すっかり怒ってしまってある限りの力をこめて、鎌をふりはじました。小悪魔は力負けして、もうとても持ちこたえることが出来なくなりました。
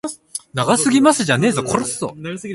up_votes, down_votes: 0, 2